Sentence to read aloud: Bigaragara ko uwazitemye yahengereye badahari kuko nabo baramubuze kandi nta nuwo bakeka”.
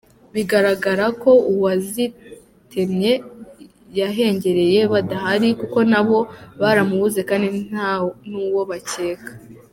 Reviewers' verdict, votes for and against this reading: accepted, 2, 0